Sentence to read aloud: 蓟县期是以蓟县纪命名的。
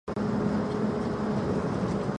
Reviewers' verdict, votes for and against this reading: rejected, 0, 2